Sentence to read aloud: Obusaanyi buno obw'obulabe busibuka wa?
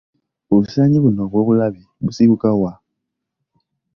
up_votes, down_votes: 2, 0